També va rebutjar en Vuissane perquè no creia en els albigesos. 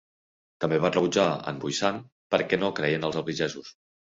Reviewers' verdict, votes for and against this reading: accepted, 3, 0